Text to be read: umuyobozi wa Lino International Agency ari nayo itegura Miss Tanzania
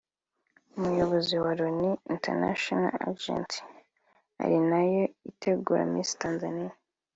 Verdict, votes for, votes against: accepted, 2, 0